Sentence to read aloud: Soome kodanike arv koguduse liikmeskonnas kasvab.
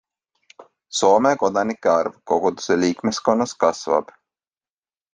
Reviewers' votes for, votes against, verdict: 2, 0, accepted